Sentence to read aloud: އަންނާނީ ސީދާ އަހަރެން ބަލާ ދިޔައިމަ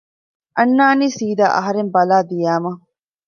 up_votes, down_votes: 2, 0